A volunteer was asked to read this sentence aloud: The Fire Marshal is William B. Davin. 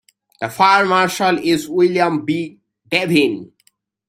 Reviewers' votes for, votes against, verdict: 2, 1, accepted